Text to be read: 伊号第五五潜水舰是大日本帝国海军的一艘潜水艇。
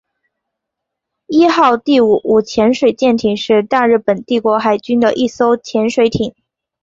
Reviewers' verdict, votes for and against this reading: accepted, 2, 0